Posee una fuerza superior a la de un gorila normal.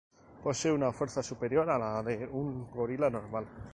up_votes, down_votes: 0, 4